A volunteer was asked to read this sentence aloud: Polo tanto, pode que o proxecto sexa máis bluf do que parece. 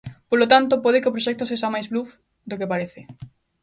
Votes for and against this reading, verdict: 2, 0, accepted